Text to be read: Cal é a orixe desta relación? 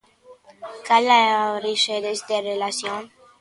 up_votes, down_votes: 1, 2